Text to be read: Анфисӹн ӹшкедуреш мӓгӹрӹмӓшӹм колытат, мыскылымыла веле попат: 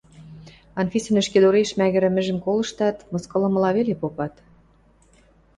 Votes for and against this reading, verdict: 0, 2, rejected